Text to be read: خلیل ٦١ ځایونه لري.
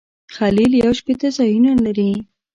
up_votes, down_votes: 0, 2